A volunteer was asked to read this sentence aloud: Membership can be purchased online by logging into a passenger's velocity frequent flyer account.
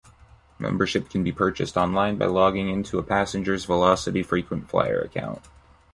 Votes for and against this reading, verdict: 2, 0, accepted